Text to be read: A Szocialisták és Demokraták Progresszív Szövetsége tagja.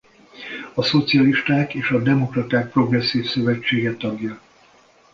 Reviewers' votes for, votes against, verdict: 0, 2, rejected